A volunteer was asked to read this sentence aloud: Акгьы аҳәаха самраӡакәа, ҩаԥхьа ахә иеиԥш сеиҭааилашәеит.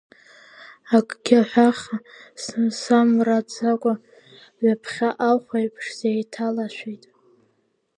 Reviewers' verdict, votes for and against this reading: rejected, 1, 2